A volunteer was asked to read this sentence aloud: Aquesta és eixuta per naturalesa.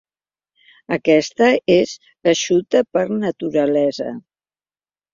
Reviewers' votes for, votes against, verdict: 2, 0, accepted